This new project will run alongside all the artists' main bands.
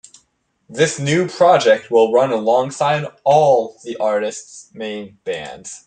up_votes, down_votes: 2, 0